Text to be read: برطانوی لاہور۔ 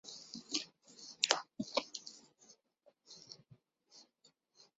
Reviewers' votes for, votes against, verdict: 1, 5, rejected